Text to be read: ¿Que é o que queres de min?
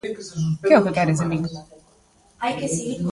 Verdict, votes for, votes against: rejected, 0, 2